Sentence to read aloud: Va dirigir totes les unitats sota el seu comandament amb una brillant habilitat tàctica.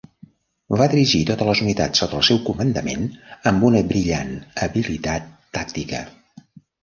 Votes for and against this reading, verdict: 2, 0, accepted